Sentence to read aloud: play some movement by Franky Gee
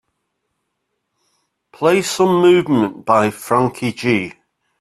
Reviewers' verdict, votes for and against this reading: accepted, 2, 0